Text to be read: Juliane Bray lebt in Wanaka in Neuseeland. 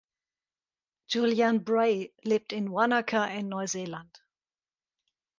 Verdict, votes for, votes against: accepted, 2, 0